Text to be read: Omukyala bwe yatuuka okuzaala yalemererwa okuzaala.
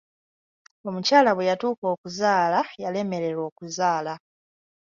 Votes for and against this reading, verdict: 2, 0, accepted